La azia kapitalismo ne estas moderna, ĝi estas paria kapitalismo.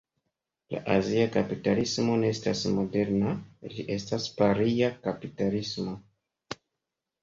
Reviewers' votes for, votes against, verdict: 2, 0, accepted